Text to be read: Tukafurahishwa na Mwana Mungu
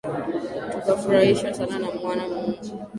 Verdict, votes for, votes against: rejected, 1, 3